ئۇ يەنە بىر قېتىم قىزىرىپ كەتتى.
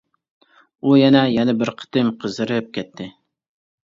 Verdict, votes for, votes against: rejected, 1, 2